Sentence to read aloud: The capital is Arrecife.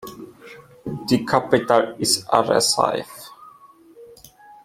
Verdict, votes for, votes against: accepted, 2, 1